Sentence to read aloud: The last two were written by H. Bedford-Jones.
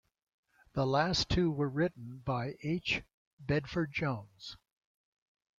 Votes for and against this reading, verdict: 2, 0, accepted